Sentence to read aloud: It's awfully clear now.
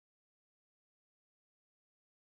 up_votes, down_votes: 0, 2